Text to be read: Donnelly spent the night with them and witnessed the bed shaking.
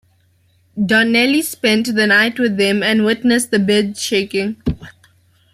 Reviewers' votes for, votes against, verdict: 2, 1, accepted